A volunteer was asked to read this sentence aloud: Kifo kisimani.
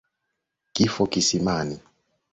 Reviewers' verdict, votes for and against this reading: accepted, 2, 0